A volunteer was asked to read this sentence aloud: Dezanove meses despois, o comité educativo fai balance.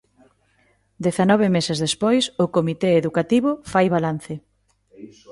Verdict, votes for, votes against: rejected, 1, 2